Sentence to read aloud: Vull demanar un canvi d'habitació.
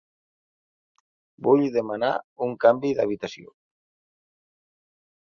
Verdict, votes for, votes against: accepted, 3, 0